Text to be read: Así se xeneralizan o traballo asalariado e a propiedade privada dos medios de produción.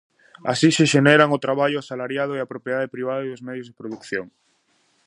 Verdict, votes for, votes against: rejected, 0, 2